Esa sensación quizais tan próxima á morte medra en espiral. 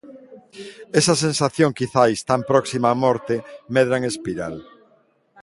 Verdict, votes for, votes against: accepted, 2, 0